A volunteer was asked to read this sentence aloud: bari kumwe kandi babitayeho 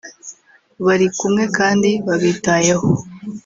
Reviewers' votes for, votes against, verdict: 1, 2, rejected